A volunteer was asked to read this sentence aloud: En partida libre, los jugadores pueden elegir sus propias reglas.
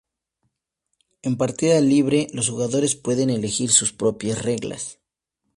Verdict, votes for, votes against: accepted, 2, 0